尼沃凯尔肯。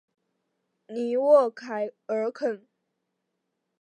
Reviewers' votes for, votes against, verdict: 2, 0, accepted